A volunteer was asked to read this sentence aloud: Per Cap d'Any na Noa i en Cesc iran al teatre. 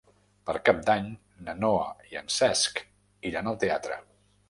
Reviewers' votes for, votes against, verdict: 3, 0, accepted